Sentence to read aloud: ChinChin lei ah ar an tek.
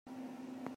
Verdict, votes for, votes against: rejected, 0, 2